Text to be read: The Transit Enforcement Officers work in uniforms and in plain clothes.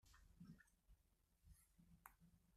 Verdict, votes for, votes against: rejected, 0, 2